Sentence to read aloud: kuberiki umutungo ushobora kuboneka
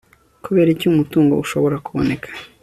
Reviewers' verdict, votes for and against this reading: accepted, 2, 0